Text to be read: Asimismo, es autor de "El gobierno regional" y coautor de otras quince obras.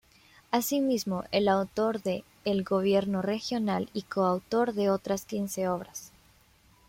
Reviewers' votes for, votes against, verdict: 0, 2, rejected